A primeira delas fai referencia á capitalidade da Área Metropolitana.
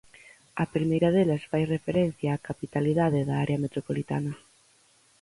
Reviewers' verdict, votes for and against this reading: accepted, 4, 0